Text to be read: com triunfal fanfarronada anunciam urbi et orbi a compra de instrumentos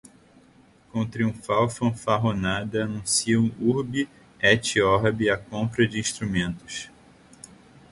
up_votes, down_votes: 2, 0